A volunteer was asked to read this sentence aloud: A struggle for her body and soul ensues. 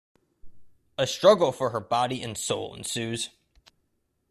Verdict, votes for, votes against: accepted, 2, 0